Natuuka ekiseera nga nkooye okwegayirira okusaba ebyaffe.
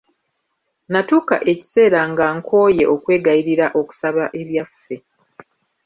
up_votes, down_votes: 2, 1